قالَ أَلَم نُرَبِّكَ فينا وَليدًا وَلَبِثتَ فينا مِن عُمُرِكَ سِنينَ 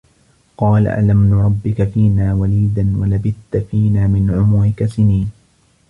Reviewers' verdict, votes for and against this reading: accepted, 2, 1